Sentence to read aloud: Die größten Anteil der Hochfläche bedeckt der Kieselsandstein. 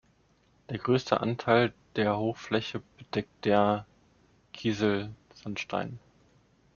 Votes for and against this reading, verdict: 0, 2, rejected